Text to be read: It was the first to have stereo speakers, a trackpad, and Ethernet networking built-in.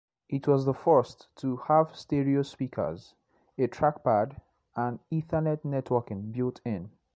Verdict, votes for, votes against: accepted, 2, 0